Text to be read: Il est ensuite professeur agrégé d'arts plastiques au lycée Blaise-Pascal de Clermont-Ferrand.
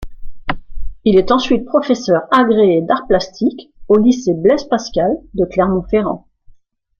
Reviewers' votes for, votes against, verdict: 2, 1, accepted